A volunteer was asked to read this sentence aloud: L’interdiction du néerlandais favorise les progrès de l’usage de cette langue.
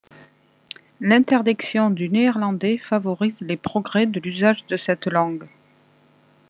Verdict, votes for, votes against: rejected, 1, 2